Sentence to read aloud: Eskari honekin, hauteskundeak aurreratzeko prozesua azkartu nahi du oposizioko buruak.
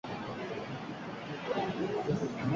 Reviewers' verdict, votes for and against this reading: rejected, 0, 4